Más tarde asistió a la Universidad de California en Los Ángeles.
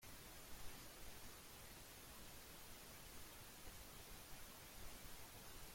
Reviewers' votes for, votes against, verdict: 0, 2, rejected